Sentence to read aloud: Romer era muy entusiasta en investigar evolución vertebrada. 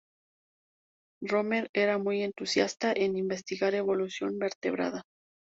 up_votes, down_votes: 2, 2